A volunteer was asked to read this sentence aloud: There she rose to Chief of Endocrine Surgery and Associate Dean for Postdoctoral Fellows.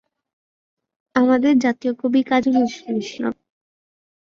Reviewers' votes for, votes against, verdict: 0, 2, rejected